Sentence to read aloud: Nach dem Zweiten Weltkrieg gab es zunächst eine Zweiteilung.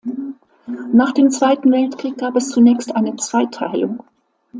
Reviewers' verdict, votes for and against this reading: accepted, 2, 0